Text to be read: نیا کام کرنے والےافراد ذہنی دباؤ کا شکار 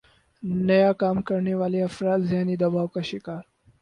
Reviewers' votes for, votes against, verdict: 4, 0, accepted